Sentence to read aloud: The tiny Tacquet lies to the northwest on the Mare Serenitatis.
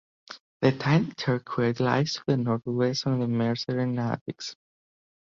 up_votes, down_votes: 0, 2